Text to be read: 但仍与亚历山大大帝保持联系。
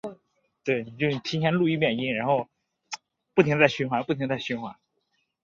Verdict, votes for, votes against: rejected, 0, 2